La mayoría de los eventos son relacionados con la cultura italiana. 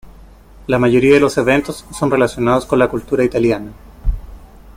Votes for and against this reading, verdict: 2, 0, accepted